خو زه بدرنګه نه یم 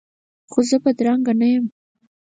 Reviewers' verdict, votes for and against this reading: accepted, 4, 0